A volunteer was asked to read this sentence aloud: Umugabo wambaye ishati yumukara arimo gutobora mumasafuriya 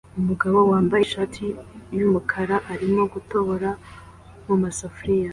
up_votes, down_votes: 2, 0